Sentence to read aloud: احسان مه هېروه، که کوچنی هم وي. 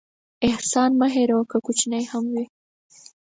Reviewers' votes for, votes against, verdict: 4, 0, accepted